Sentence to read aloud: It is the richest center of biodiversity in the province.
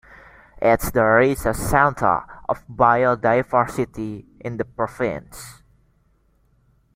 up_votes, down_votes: 0, 2